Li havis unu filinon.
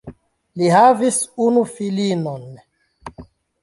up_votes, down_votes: 1, 2